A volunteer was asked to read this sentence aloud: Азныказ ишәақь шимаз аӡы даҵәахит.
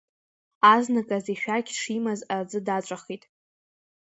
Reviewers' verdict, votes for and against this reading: accepted, 2, 0